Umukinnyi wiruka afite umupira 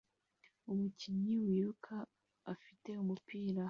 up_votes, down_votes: 0, 2